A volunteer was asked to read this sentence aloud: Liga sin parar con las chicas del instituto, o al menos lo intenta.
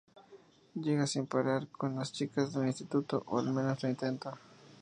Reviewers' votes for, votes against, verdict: 0, 2, rejected